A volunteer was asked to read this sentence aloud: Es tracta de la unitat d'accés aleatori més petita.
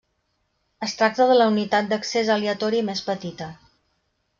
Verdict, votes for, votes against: accepted, 2, 0